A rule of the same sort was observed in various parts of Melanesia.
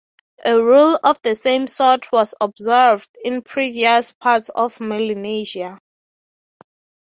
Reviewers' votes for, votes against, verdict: 0, 3, rejected